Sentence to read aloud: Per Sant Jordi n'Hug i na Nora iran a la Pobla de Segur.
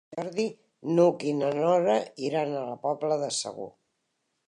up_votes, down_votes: 0, 2